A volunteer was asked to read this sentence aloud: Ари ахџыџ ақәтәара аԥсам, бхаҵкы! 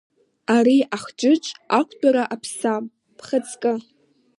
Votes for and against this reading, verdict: 2, 0, accepted